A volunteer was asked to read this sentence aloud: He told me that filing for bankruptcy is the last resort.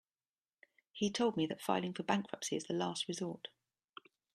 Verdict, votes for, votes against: accepted, 2, 0